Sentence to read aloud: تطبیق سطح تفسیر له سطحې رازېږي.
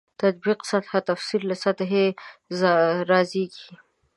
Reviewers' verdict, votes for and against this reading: accepted, 2, 0